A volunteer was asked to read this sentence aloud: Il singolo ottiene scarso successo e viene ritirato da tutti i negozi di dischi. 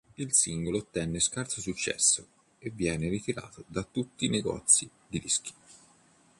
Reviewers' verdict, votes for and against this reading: rejected, 1, 2